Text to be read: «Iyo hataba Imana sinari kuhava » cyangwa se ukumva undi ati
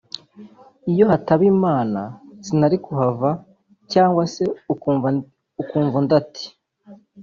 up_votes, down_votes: 0, 2